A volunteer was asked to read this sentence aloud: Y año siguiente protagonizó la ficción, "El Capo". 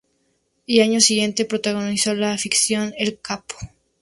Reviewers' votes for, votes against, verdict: 2, 0, accepted